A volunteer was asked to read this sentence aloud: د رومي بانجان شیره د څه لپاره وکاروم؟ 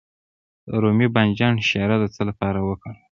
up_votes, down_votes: 2, 1